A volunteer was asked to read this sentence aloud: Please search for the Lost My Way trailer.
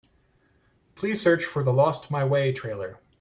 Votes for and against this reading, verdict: 2, 0, accepted